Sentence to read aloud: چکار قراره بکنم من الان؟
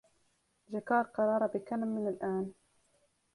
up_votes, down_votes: 1, 2